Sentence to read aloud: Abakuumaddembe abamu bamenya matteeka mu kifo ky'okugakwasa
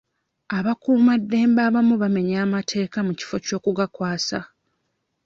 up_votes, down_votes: 1, 2